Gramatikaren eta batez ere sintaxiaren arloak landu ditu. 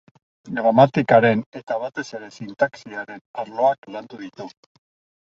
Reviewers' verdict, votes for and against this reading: accepted, 2, 0